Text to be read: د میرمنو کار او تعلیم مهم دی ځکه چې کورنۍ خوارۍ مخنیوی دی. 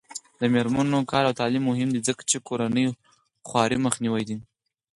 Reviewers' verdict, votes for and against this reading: accepted, 4, 2